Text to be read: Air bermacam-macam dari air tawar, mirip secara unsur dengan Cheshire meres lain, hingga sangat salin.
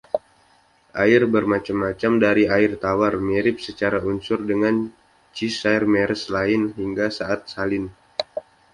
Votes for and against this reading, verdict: 1, 2, rejected